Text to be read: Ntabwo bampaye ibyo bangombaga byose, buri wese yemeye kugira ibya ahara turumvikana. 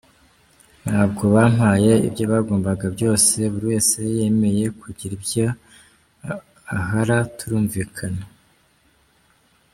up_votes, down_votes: 0, 2